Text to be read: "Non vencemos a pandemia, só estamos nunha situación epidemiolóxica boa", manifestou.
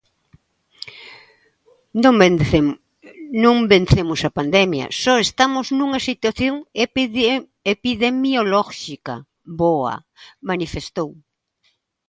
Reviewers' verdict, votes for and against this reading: rejected, 0, 2